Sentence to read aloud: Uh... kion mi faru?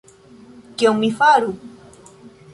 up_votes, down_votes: 0, 2